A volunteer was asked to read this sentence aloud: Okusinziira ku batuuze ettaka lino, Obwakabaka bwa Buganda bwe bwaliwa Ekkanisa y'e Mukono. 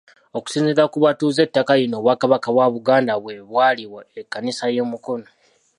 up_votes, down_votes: 2, 0